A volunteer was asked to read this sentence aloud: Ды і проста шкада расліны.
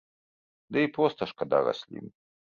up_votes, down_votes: 3, 0